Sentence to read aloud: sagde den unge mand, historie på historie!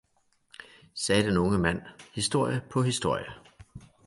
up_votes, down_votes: 2, 0